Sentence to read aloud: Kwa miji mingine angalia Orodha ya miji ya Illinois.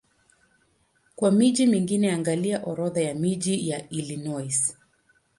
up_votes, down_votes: 2, 0